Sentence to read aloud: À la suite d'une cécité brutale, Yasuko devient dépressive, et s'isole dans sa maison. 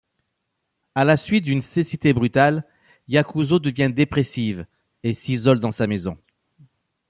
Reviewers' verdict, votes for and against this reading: rejected, 1, 2